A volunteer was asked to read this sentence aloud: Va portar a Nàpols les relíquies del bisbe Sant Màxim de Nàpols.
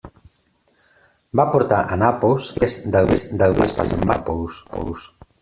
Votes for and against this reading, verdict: 0, 2, rejected